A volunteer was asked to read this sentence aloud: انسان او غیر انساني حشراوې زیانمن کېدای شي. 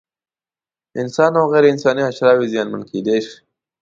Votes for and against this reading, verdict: 2, 0, accepted